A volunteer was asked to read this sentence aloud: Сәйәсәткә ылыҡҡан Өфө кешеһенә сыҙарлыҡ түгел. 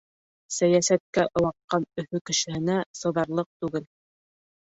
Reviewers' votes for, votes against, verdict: 2, 0, accepted